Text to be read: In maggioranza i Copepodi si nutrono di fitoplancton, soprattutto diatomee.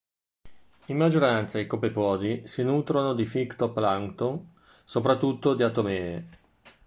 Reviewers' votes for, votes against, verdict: 0, 2, rejected